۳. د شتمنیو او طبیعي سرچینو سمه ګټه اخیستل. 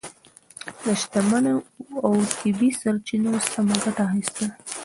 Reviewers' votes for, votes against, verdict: 0, 2, rejected